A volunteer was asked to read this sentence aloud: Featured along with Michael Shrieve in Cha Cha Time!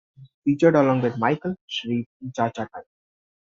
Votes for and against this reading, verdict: 1, 2, rejected